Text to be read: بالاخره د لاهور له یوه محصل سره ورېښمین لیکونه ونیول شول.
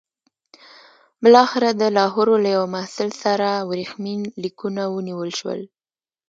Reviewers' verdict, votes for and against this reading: accepted, 2, 0